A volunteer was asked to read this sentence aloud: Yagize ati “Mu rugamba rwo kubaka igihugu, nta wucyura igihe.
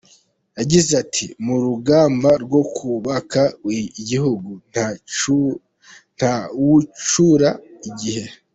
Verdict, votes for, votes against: accepted, 2, 1